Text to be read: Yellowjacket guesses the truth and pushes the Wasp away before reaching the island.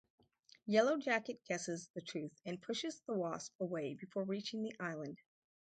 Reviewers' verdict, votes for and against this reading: rejected, 2, 2